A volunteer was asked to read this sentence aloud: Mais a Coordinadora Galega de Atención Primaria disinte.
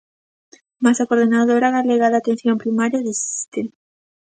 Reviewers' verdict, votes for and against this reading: rejected, 0, 2